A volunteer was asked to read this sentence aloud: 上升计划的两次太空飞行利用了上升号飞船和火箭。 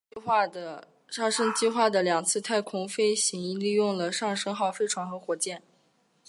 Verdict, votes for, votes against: rejected, 1, 2